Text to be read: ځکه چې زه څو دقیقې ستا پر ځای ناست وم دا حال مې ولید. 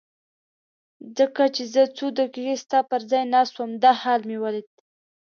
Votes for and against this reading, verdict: 2, 0, accepted